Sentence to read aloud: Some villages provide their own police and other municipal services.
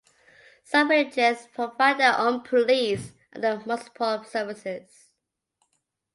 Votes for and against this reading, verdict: 0, 2, rejected